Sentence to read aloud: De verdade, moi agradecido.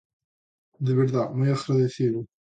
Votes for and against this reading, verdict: 0, 2, rejected